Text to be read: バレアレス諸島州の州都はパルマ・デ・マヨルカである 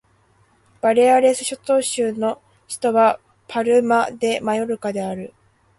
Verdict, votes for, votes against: accepted, 2, 0